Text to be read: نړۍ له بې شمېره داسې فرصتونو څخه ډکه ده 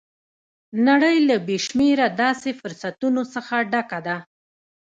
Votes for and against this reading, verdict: 0, 2, rejected